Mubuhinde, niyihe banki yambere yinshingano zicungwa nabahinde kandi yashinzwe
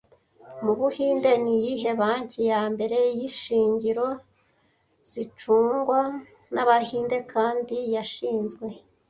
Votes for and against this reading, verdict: 1, 2, rejected